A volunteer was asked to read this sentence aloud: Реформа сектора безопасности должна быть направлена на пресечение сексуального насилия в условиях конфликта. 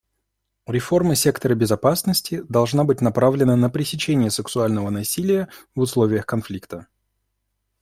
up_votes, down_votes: 2, 0